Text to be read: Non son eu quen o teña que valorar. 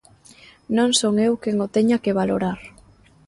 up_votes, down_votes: 2, 0